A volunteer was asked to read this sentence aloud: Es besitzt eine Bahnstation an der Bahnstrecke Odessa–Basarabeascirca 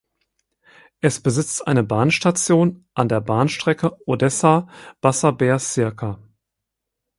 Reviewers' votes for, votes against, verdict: 0, 4, rejected